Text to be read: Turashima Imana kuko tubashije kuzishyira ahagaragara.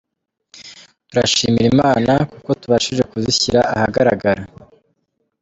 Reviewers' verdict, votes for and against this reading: rejected, 1, 2